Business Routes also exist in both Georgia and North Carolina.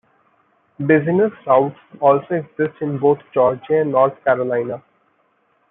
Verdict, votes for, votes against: rejected, 1, 2